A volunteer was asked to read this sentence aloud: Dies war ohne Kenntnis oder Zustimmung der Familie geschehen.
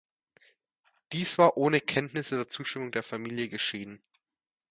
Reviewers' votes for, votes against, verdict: 2, 0, accepted